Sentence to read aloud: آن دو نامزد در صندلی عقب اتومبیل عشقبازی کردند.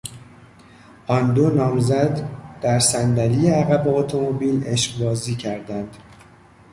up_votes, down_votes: 0, 2